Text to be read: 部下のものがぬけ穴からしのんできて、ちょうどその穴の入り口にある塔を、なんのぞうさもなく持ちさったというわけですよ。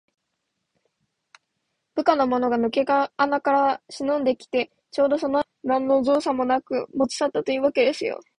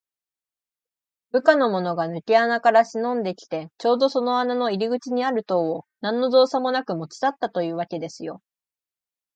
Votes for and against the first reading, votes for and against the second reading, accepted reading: 0, 2, 2, 0, second